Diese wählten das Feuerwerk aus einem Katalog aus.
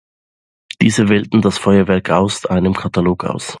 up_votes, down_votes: 2, 0